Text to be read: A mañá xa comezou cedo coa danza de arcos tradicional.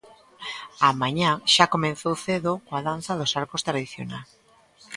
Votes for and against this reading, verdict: 0, 2, rejected